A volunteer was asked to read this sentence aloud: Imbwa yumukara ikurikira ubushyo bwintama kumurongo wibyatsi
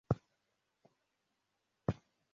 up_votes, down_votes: 0, 3